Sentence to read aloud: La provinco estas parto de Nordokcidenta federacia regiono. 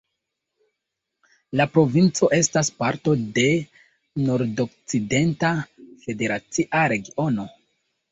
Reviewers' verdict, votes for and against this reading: accepted, 2, 0